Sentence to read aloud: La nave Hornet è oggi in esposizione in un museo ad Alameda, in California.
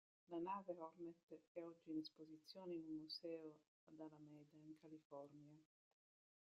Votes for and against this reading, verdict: 0, 2, rejected